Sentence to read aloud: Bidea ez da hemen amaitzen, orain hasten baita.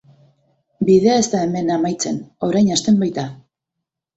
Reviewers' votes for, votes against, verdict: 2, 0, accepted